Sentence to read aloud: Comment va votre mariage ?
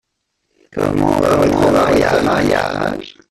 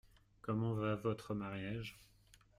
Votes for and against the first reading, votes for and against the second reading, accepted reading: 0, 2, 2, 1, second